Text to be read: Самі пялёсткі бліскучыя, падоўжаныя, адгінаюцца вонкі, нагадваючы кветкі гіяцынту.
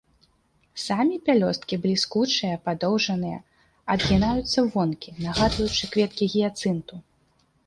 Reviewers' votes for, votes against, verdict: 2, 0, accepted